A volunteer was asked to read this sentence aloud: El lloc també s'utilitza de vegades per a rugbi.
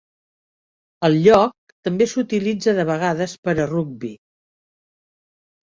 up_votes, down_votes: 4, 0